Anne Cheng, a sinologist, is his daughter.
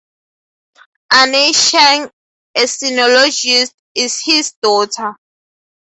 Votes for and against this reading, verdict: 4, 0, accepted